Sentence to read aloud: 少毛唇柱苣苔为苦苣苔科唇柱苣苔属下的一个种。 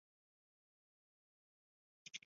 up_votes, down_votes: 0, 2